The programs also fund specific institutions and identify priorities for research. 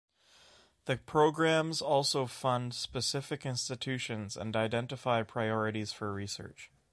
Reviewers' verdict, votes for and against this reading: accepted, 2, 0